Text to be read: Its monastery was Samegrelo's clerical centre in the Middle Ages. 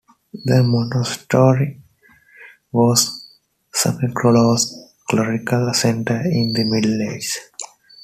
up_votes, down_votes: 0, 2